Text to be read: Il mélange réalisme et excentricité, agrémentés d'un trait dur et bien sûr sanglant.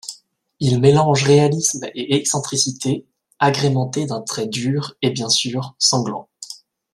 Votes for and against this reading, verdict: 2, 0, accepted